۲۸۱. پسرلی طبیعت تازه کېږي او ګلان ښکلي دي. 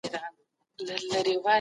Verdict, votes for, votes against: rejected, 0, 2